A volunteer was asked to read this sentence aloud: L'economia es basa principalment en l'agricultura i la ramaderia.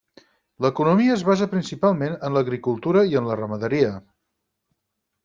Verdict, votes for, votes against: rejected, 2, 6